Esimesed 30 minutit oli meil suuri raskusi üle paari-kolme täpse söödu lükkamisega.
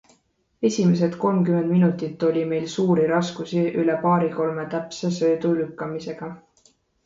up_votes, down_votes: 0, 2